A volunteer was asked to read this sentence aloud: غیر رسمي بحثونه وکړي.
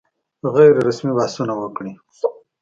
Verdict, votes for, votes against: accepted, 2, 0